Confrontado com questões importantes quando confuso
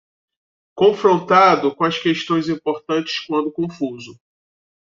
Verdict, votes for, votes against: rejected, 1, 2